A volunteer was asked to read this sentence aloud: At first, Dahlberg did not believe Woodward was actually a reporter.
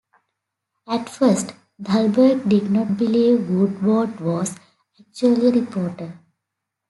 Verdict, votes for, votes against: accepted, 2, 0